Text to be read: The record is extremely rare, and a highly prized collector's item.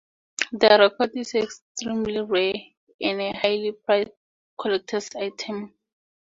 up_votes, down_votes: 2, 0